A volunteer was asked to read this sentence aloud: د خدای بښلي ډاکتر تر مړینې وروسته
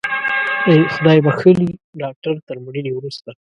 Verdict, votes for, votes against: rejected, 1, 2